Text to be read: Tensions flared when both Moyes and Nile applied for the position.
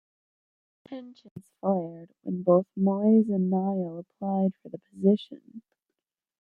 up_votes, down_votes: 1, 2